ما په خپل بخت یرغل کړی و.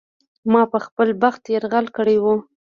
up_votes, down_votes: 2, 0